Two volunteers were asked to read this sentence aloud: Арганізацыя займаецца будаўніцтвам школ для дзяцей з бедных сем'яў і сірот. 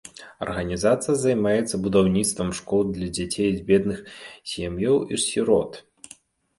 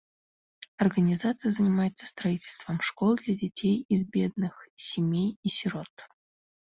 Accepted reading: first